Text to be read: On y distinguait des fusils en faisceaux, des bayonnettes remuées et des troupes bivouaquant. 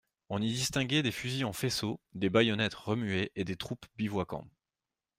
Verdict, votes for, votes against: accepted, 2, 0